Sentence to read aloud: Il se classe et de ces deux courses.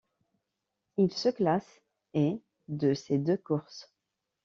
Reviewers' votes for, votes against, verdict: 2, 0, accepted